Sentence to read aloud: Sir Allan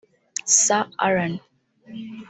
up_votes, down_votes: 0, 2